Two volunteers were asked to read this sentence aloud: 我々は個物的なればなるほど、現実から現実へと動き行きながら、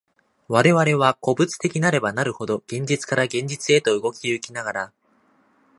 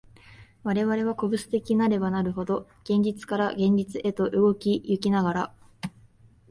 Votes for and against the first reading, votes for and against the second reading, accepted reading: 2, 0, 1, 2, first